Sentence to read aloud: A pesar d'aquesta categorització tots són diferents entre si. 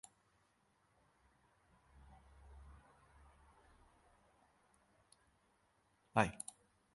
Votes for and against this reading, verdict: 0, 2, rejected